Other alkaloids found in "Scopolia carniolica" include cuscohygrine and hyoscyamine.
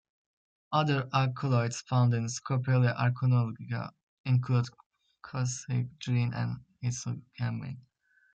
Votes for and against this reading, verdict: 1, 2, rejected